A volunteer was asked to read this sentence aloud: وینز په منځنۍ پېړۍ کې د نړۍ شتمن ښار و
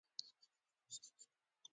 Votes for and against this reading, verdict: 0, 2, rejected